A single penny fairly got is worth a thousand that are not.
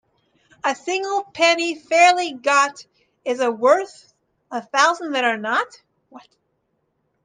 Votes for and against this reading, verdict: 0, 2, rejected